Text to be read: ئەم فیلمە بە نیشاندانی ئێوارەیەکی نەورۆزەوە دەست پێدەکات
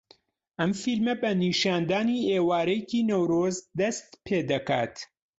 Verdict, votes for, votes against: rejected, 0, 2